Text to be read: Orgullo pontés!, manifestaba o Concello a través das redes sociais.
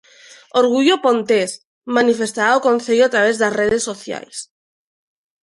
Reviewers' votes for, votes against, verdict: 2, 0, accepted